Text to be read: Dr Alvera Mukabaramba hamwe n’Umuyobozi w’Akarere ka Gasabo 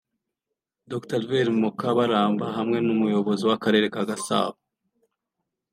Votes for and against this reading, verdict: 2, 0, accepted